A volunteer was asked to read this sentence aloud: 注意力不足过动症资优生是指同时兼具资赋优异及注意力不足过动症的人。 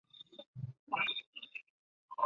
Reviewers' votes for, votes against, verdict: 2, 5, rejected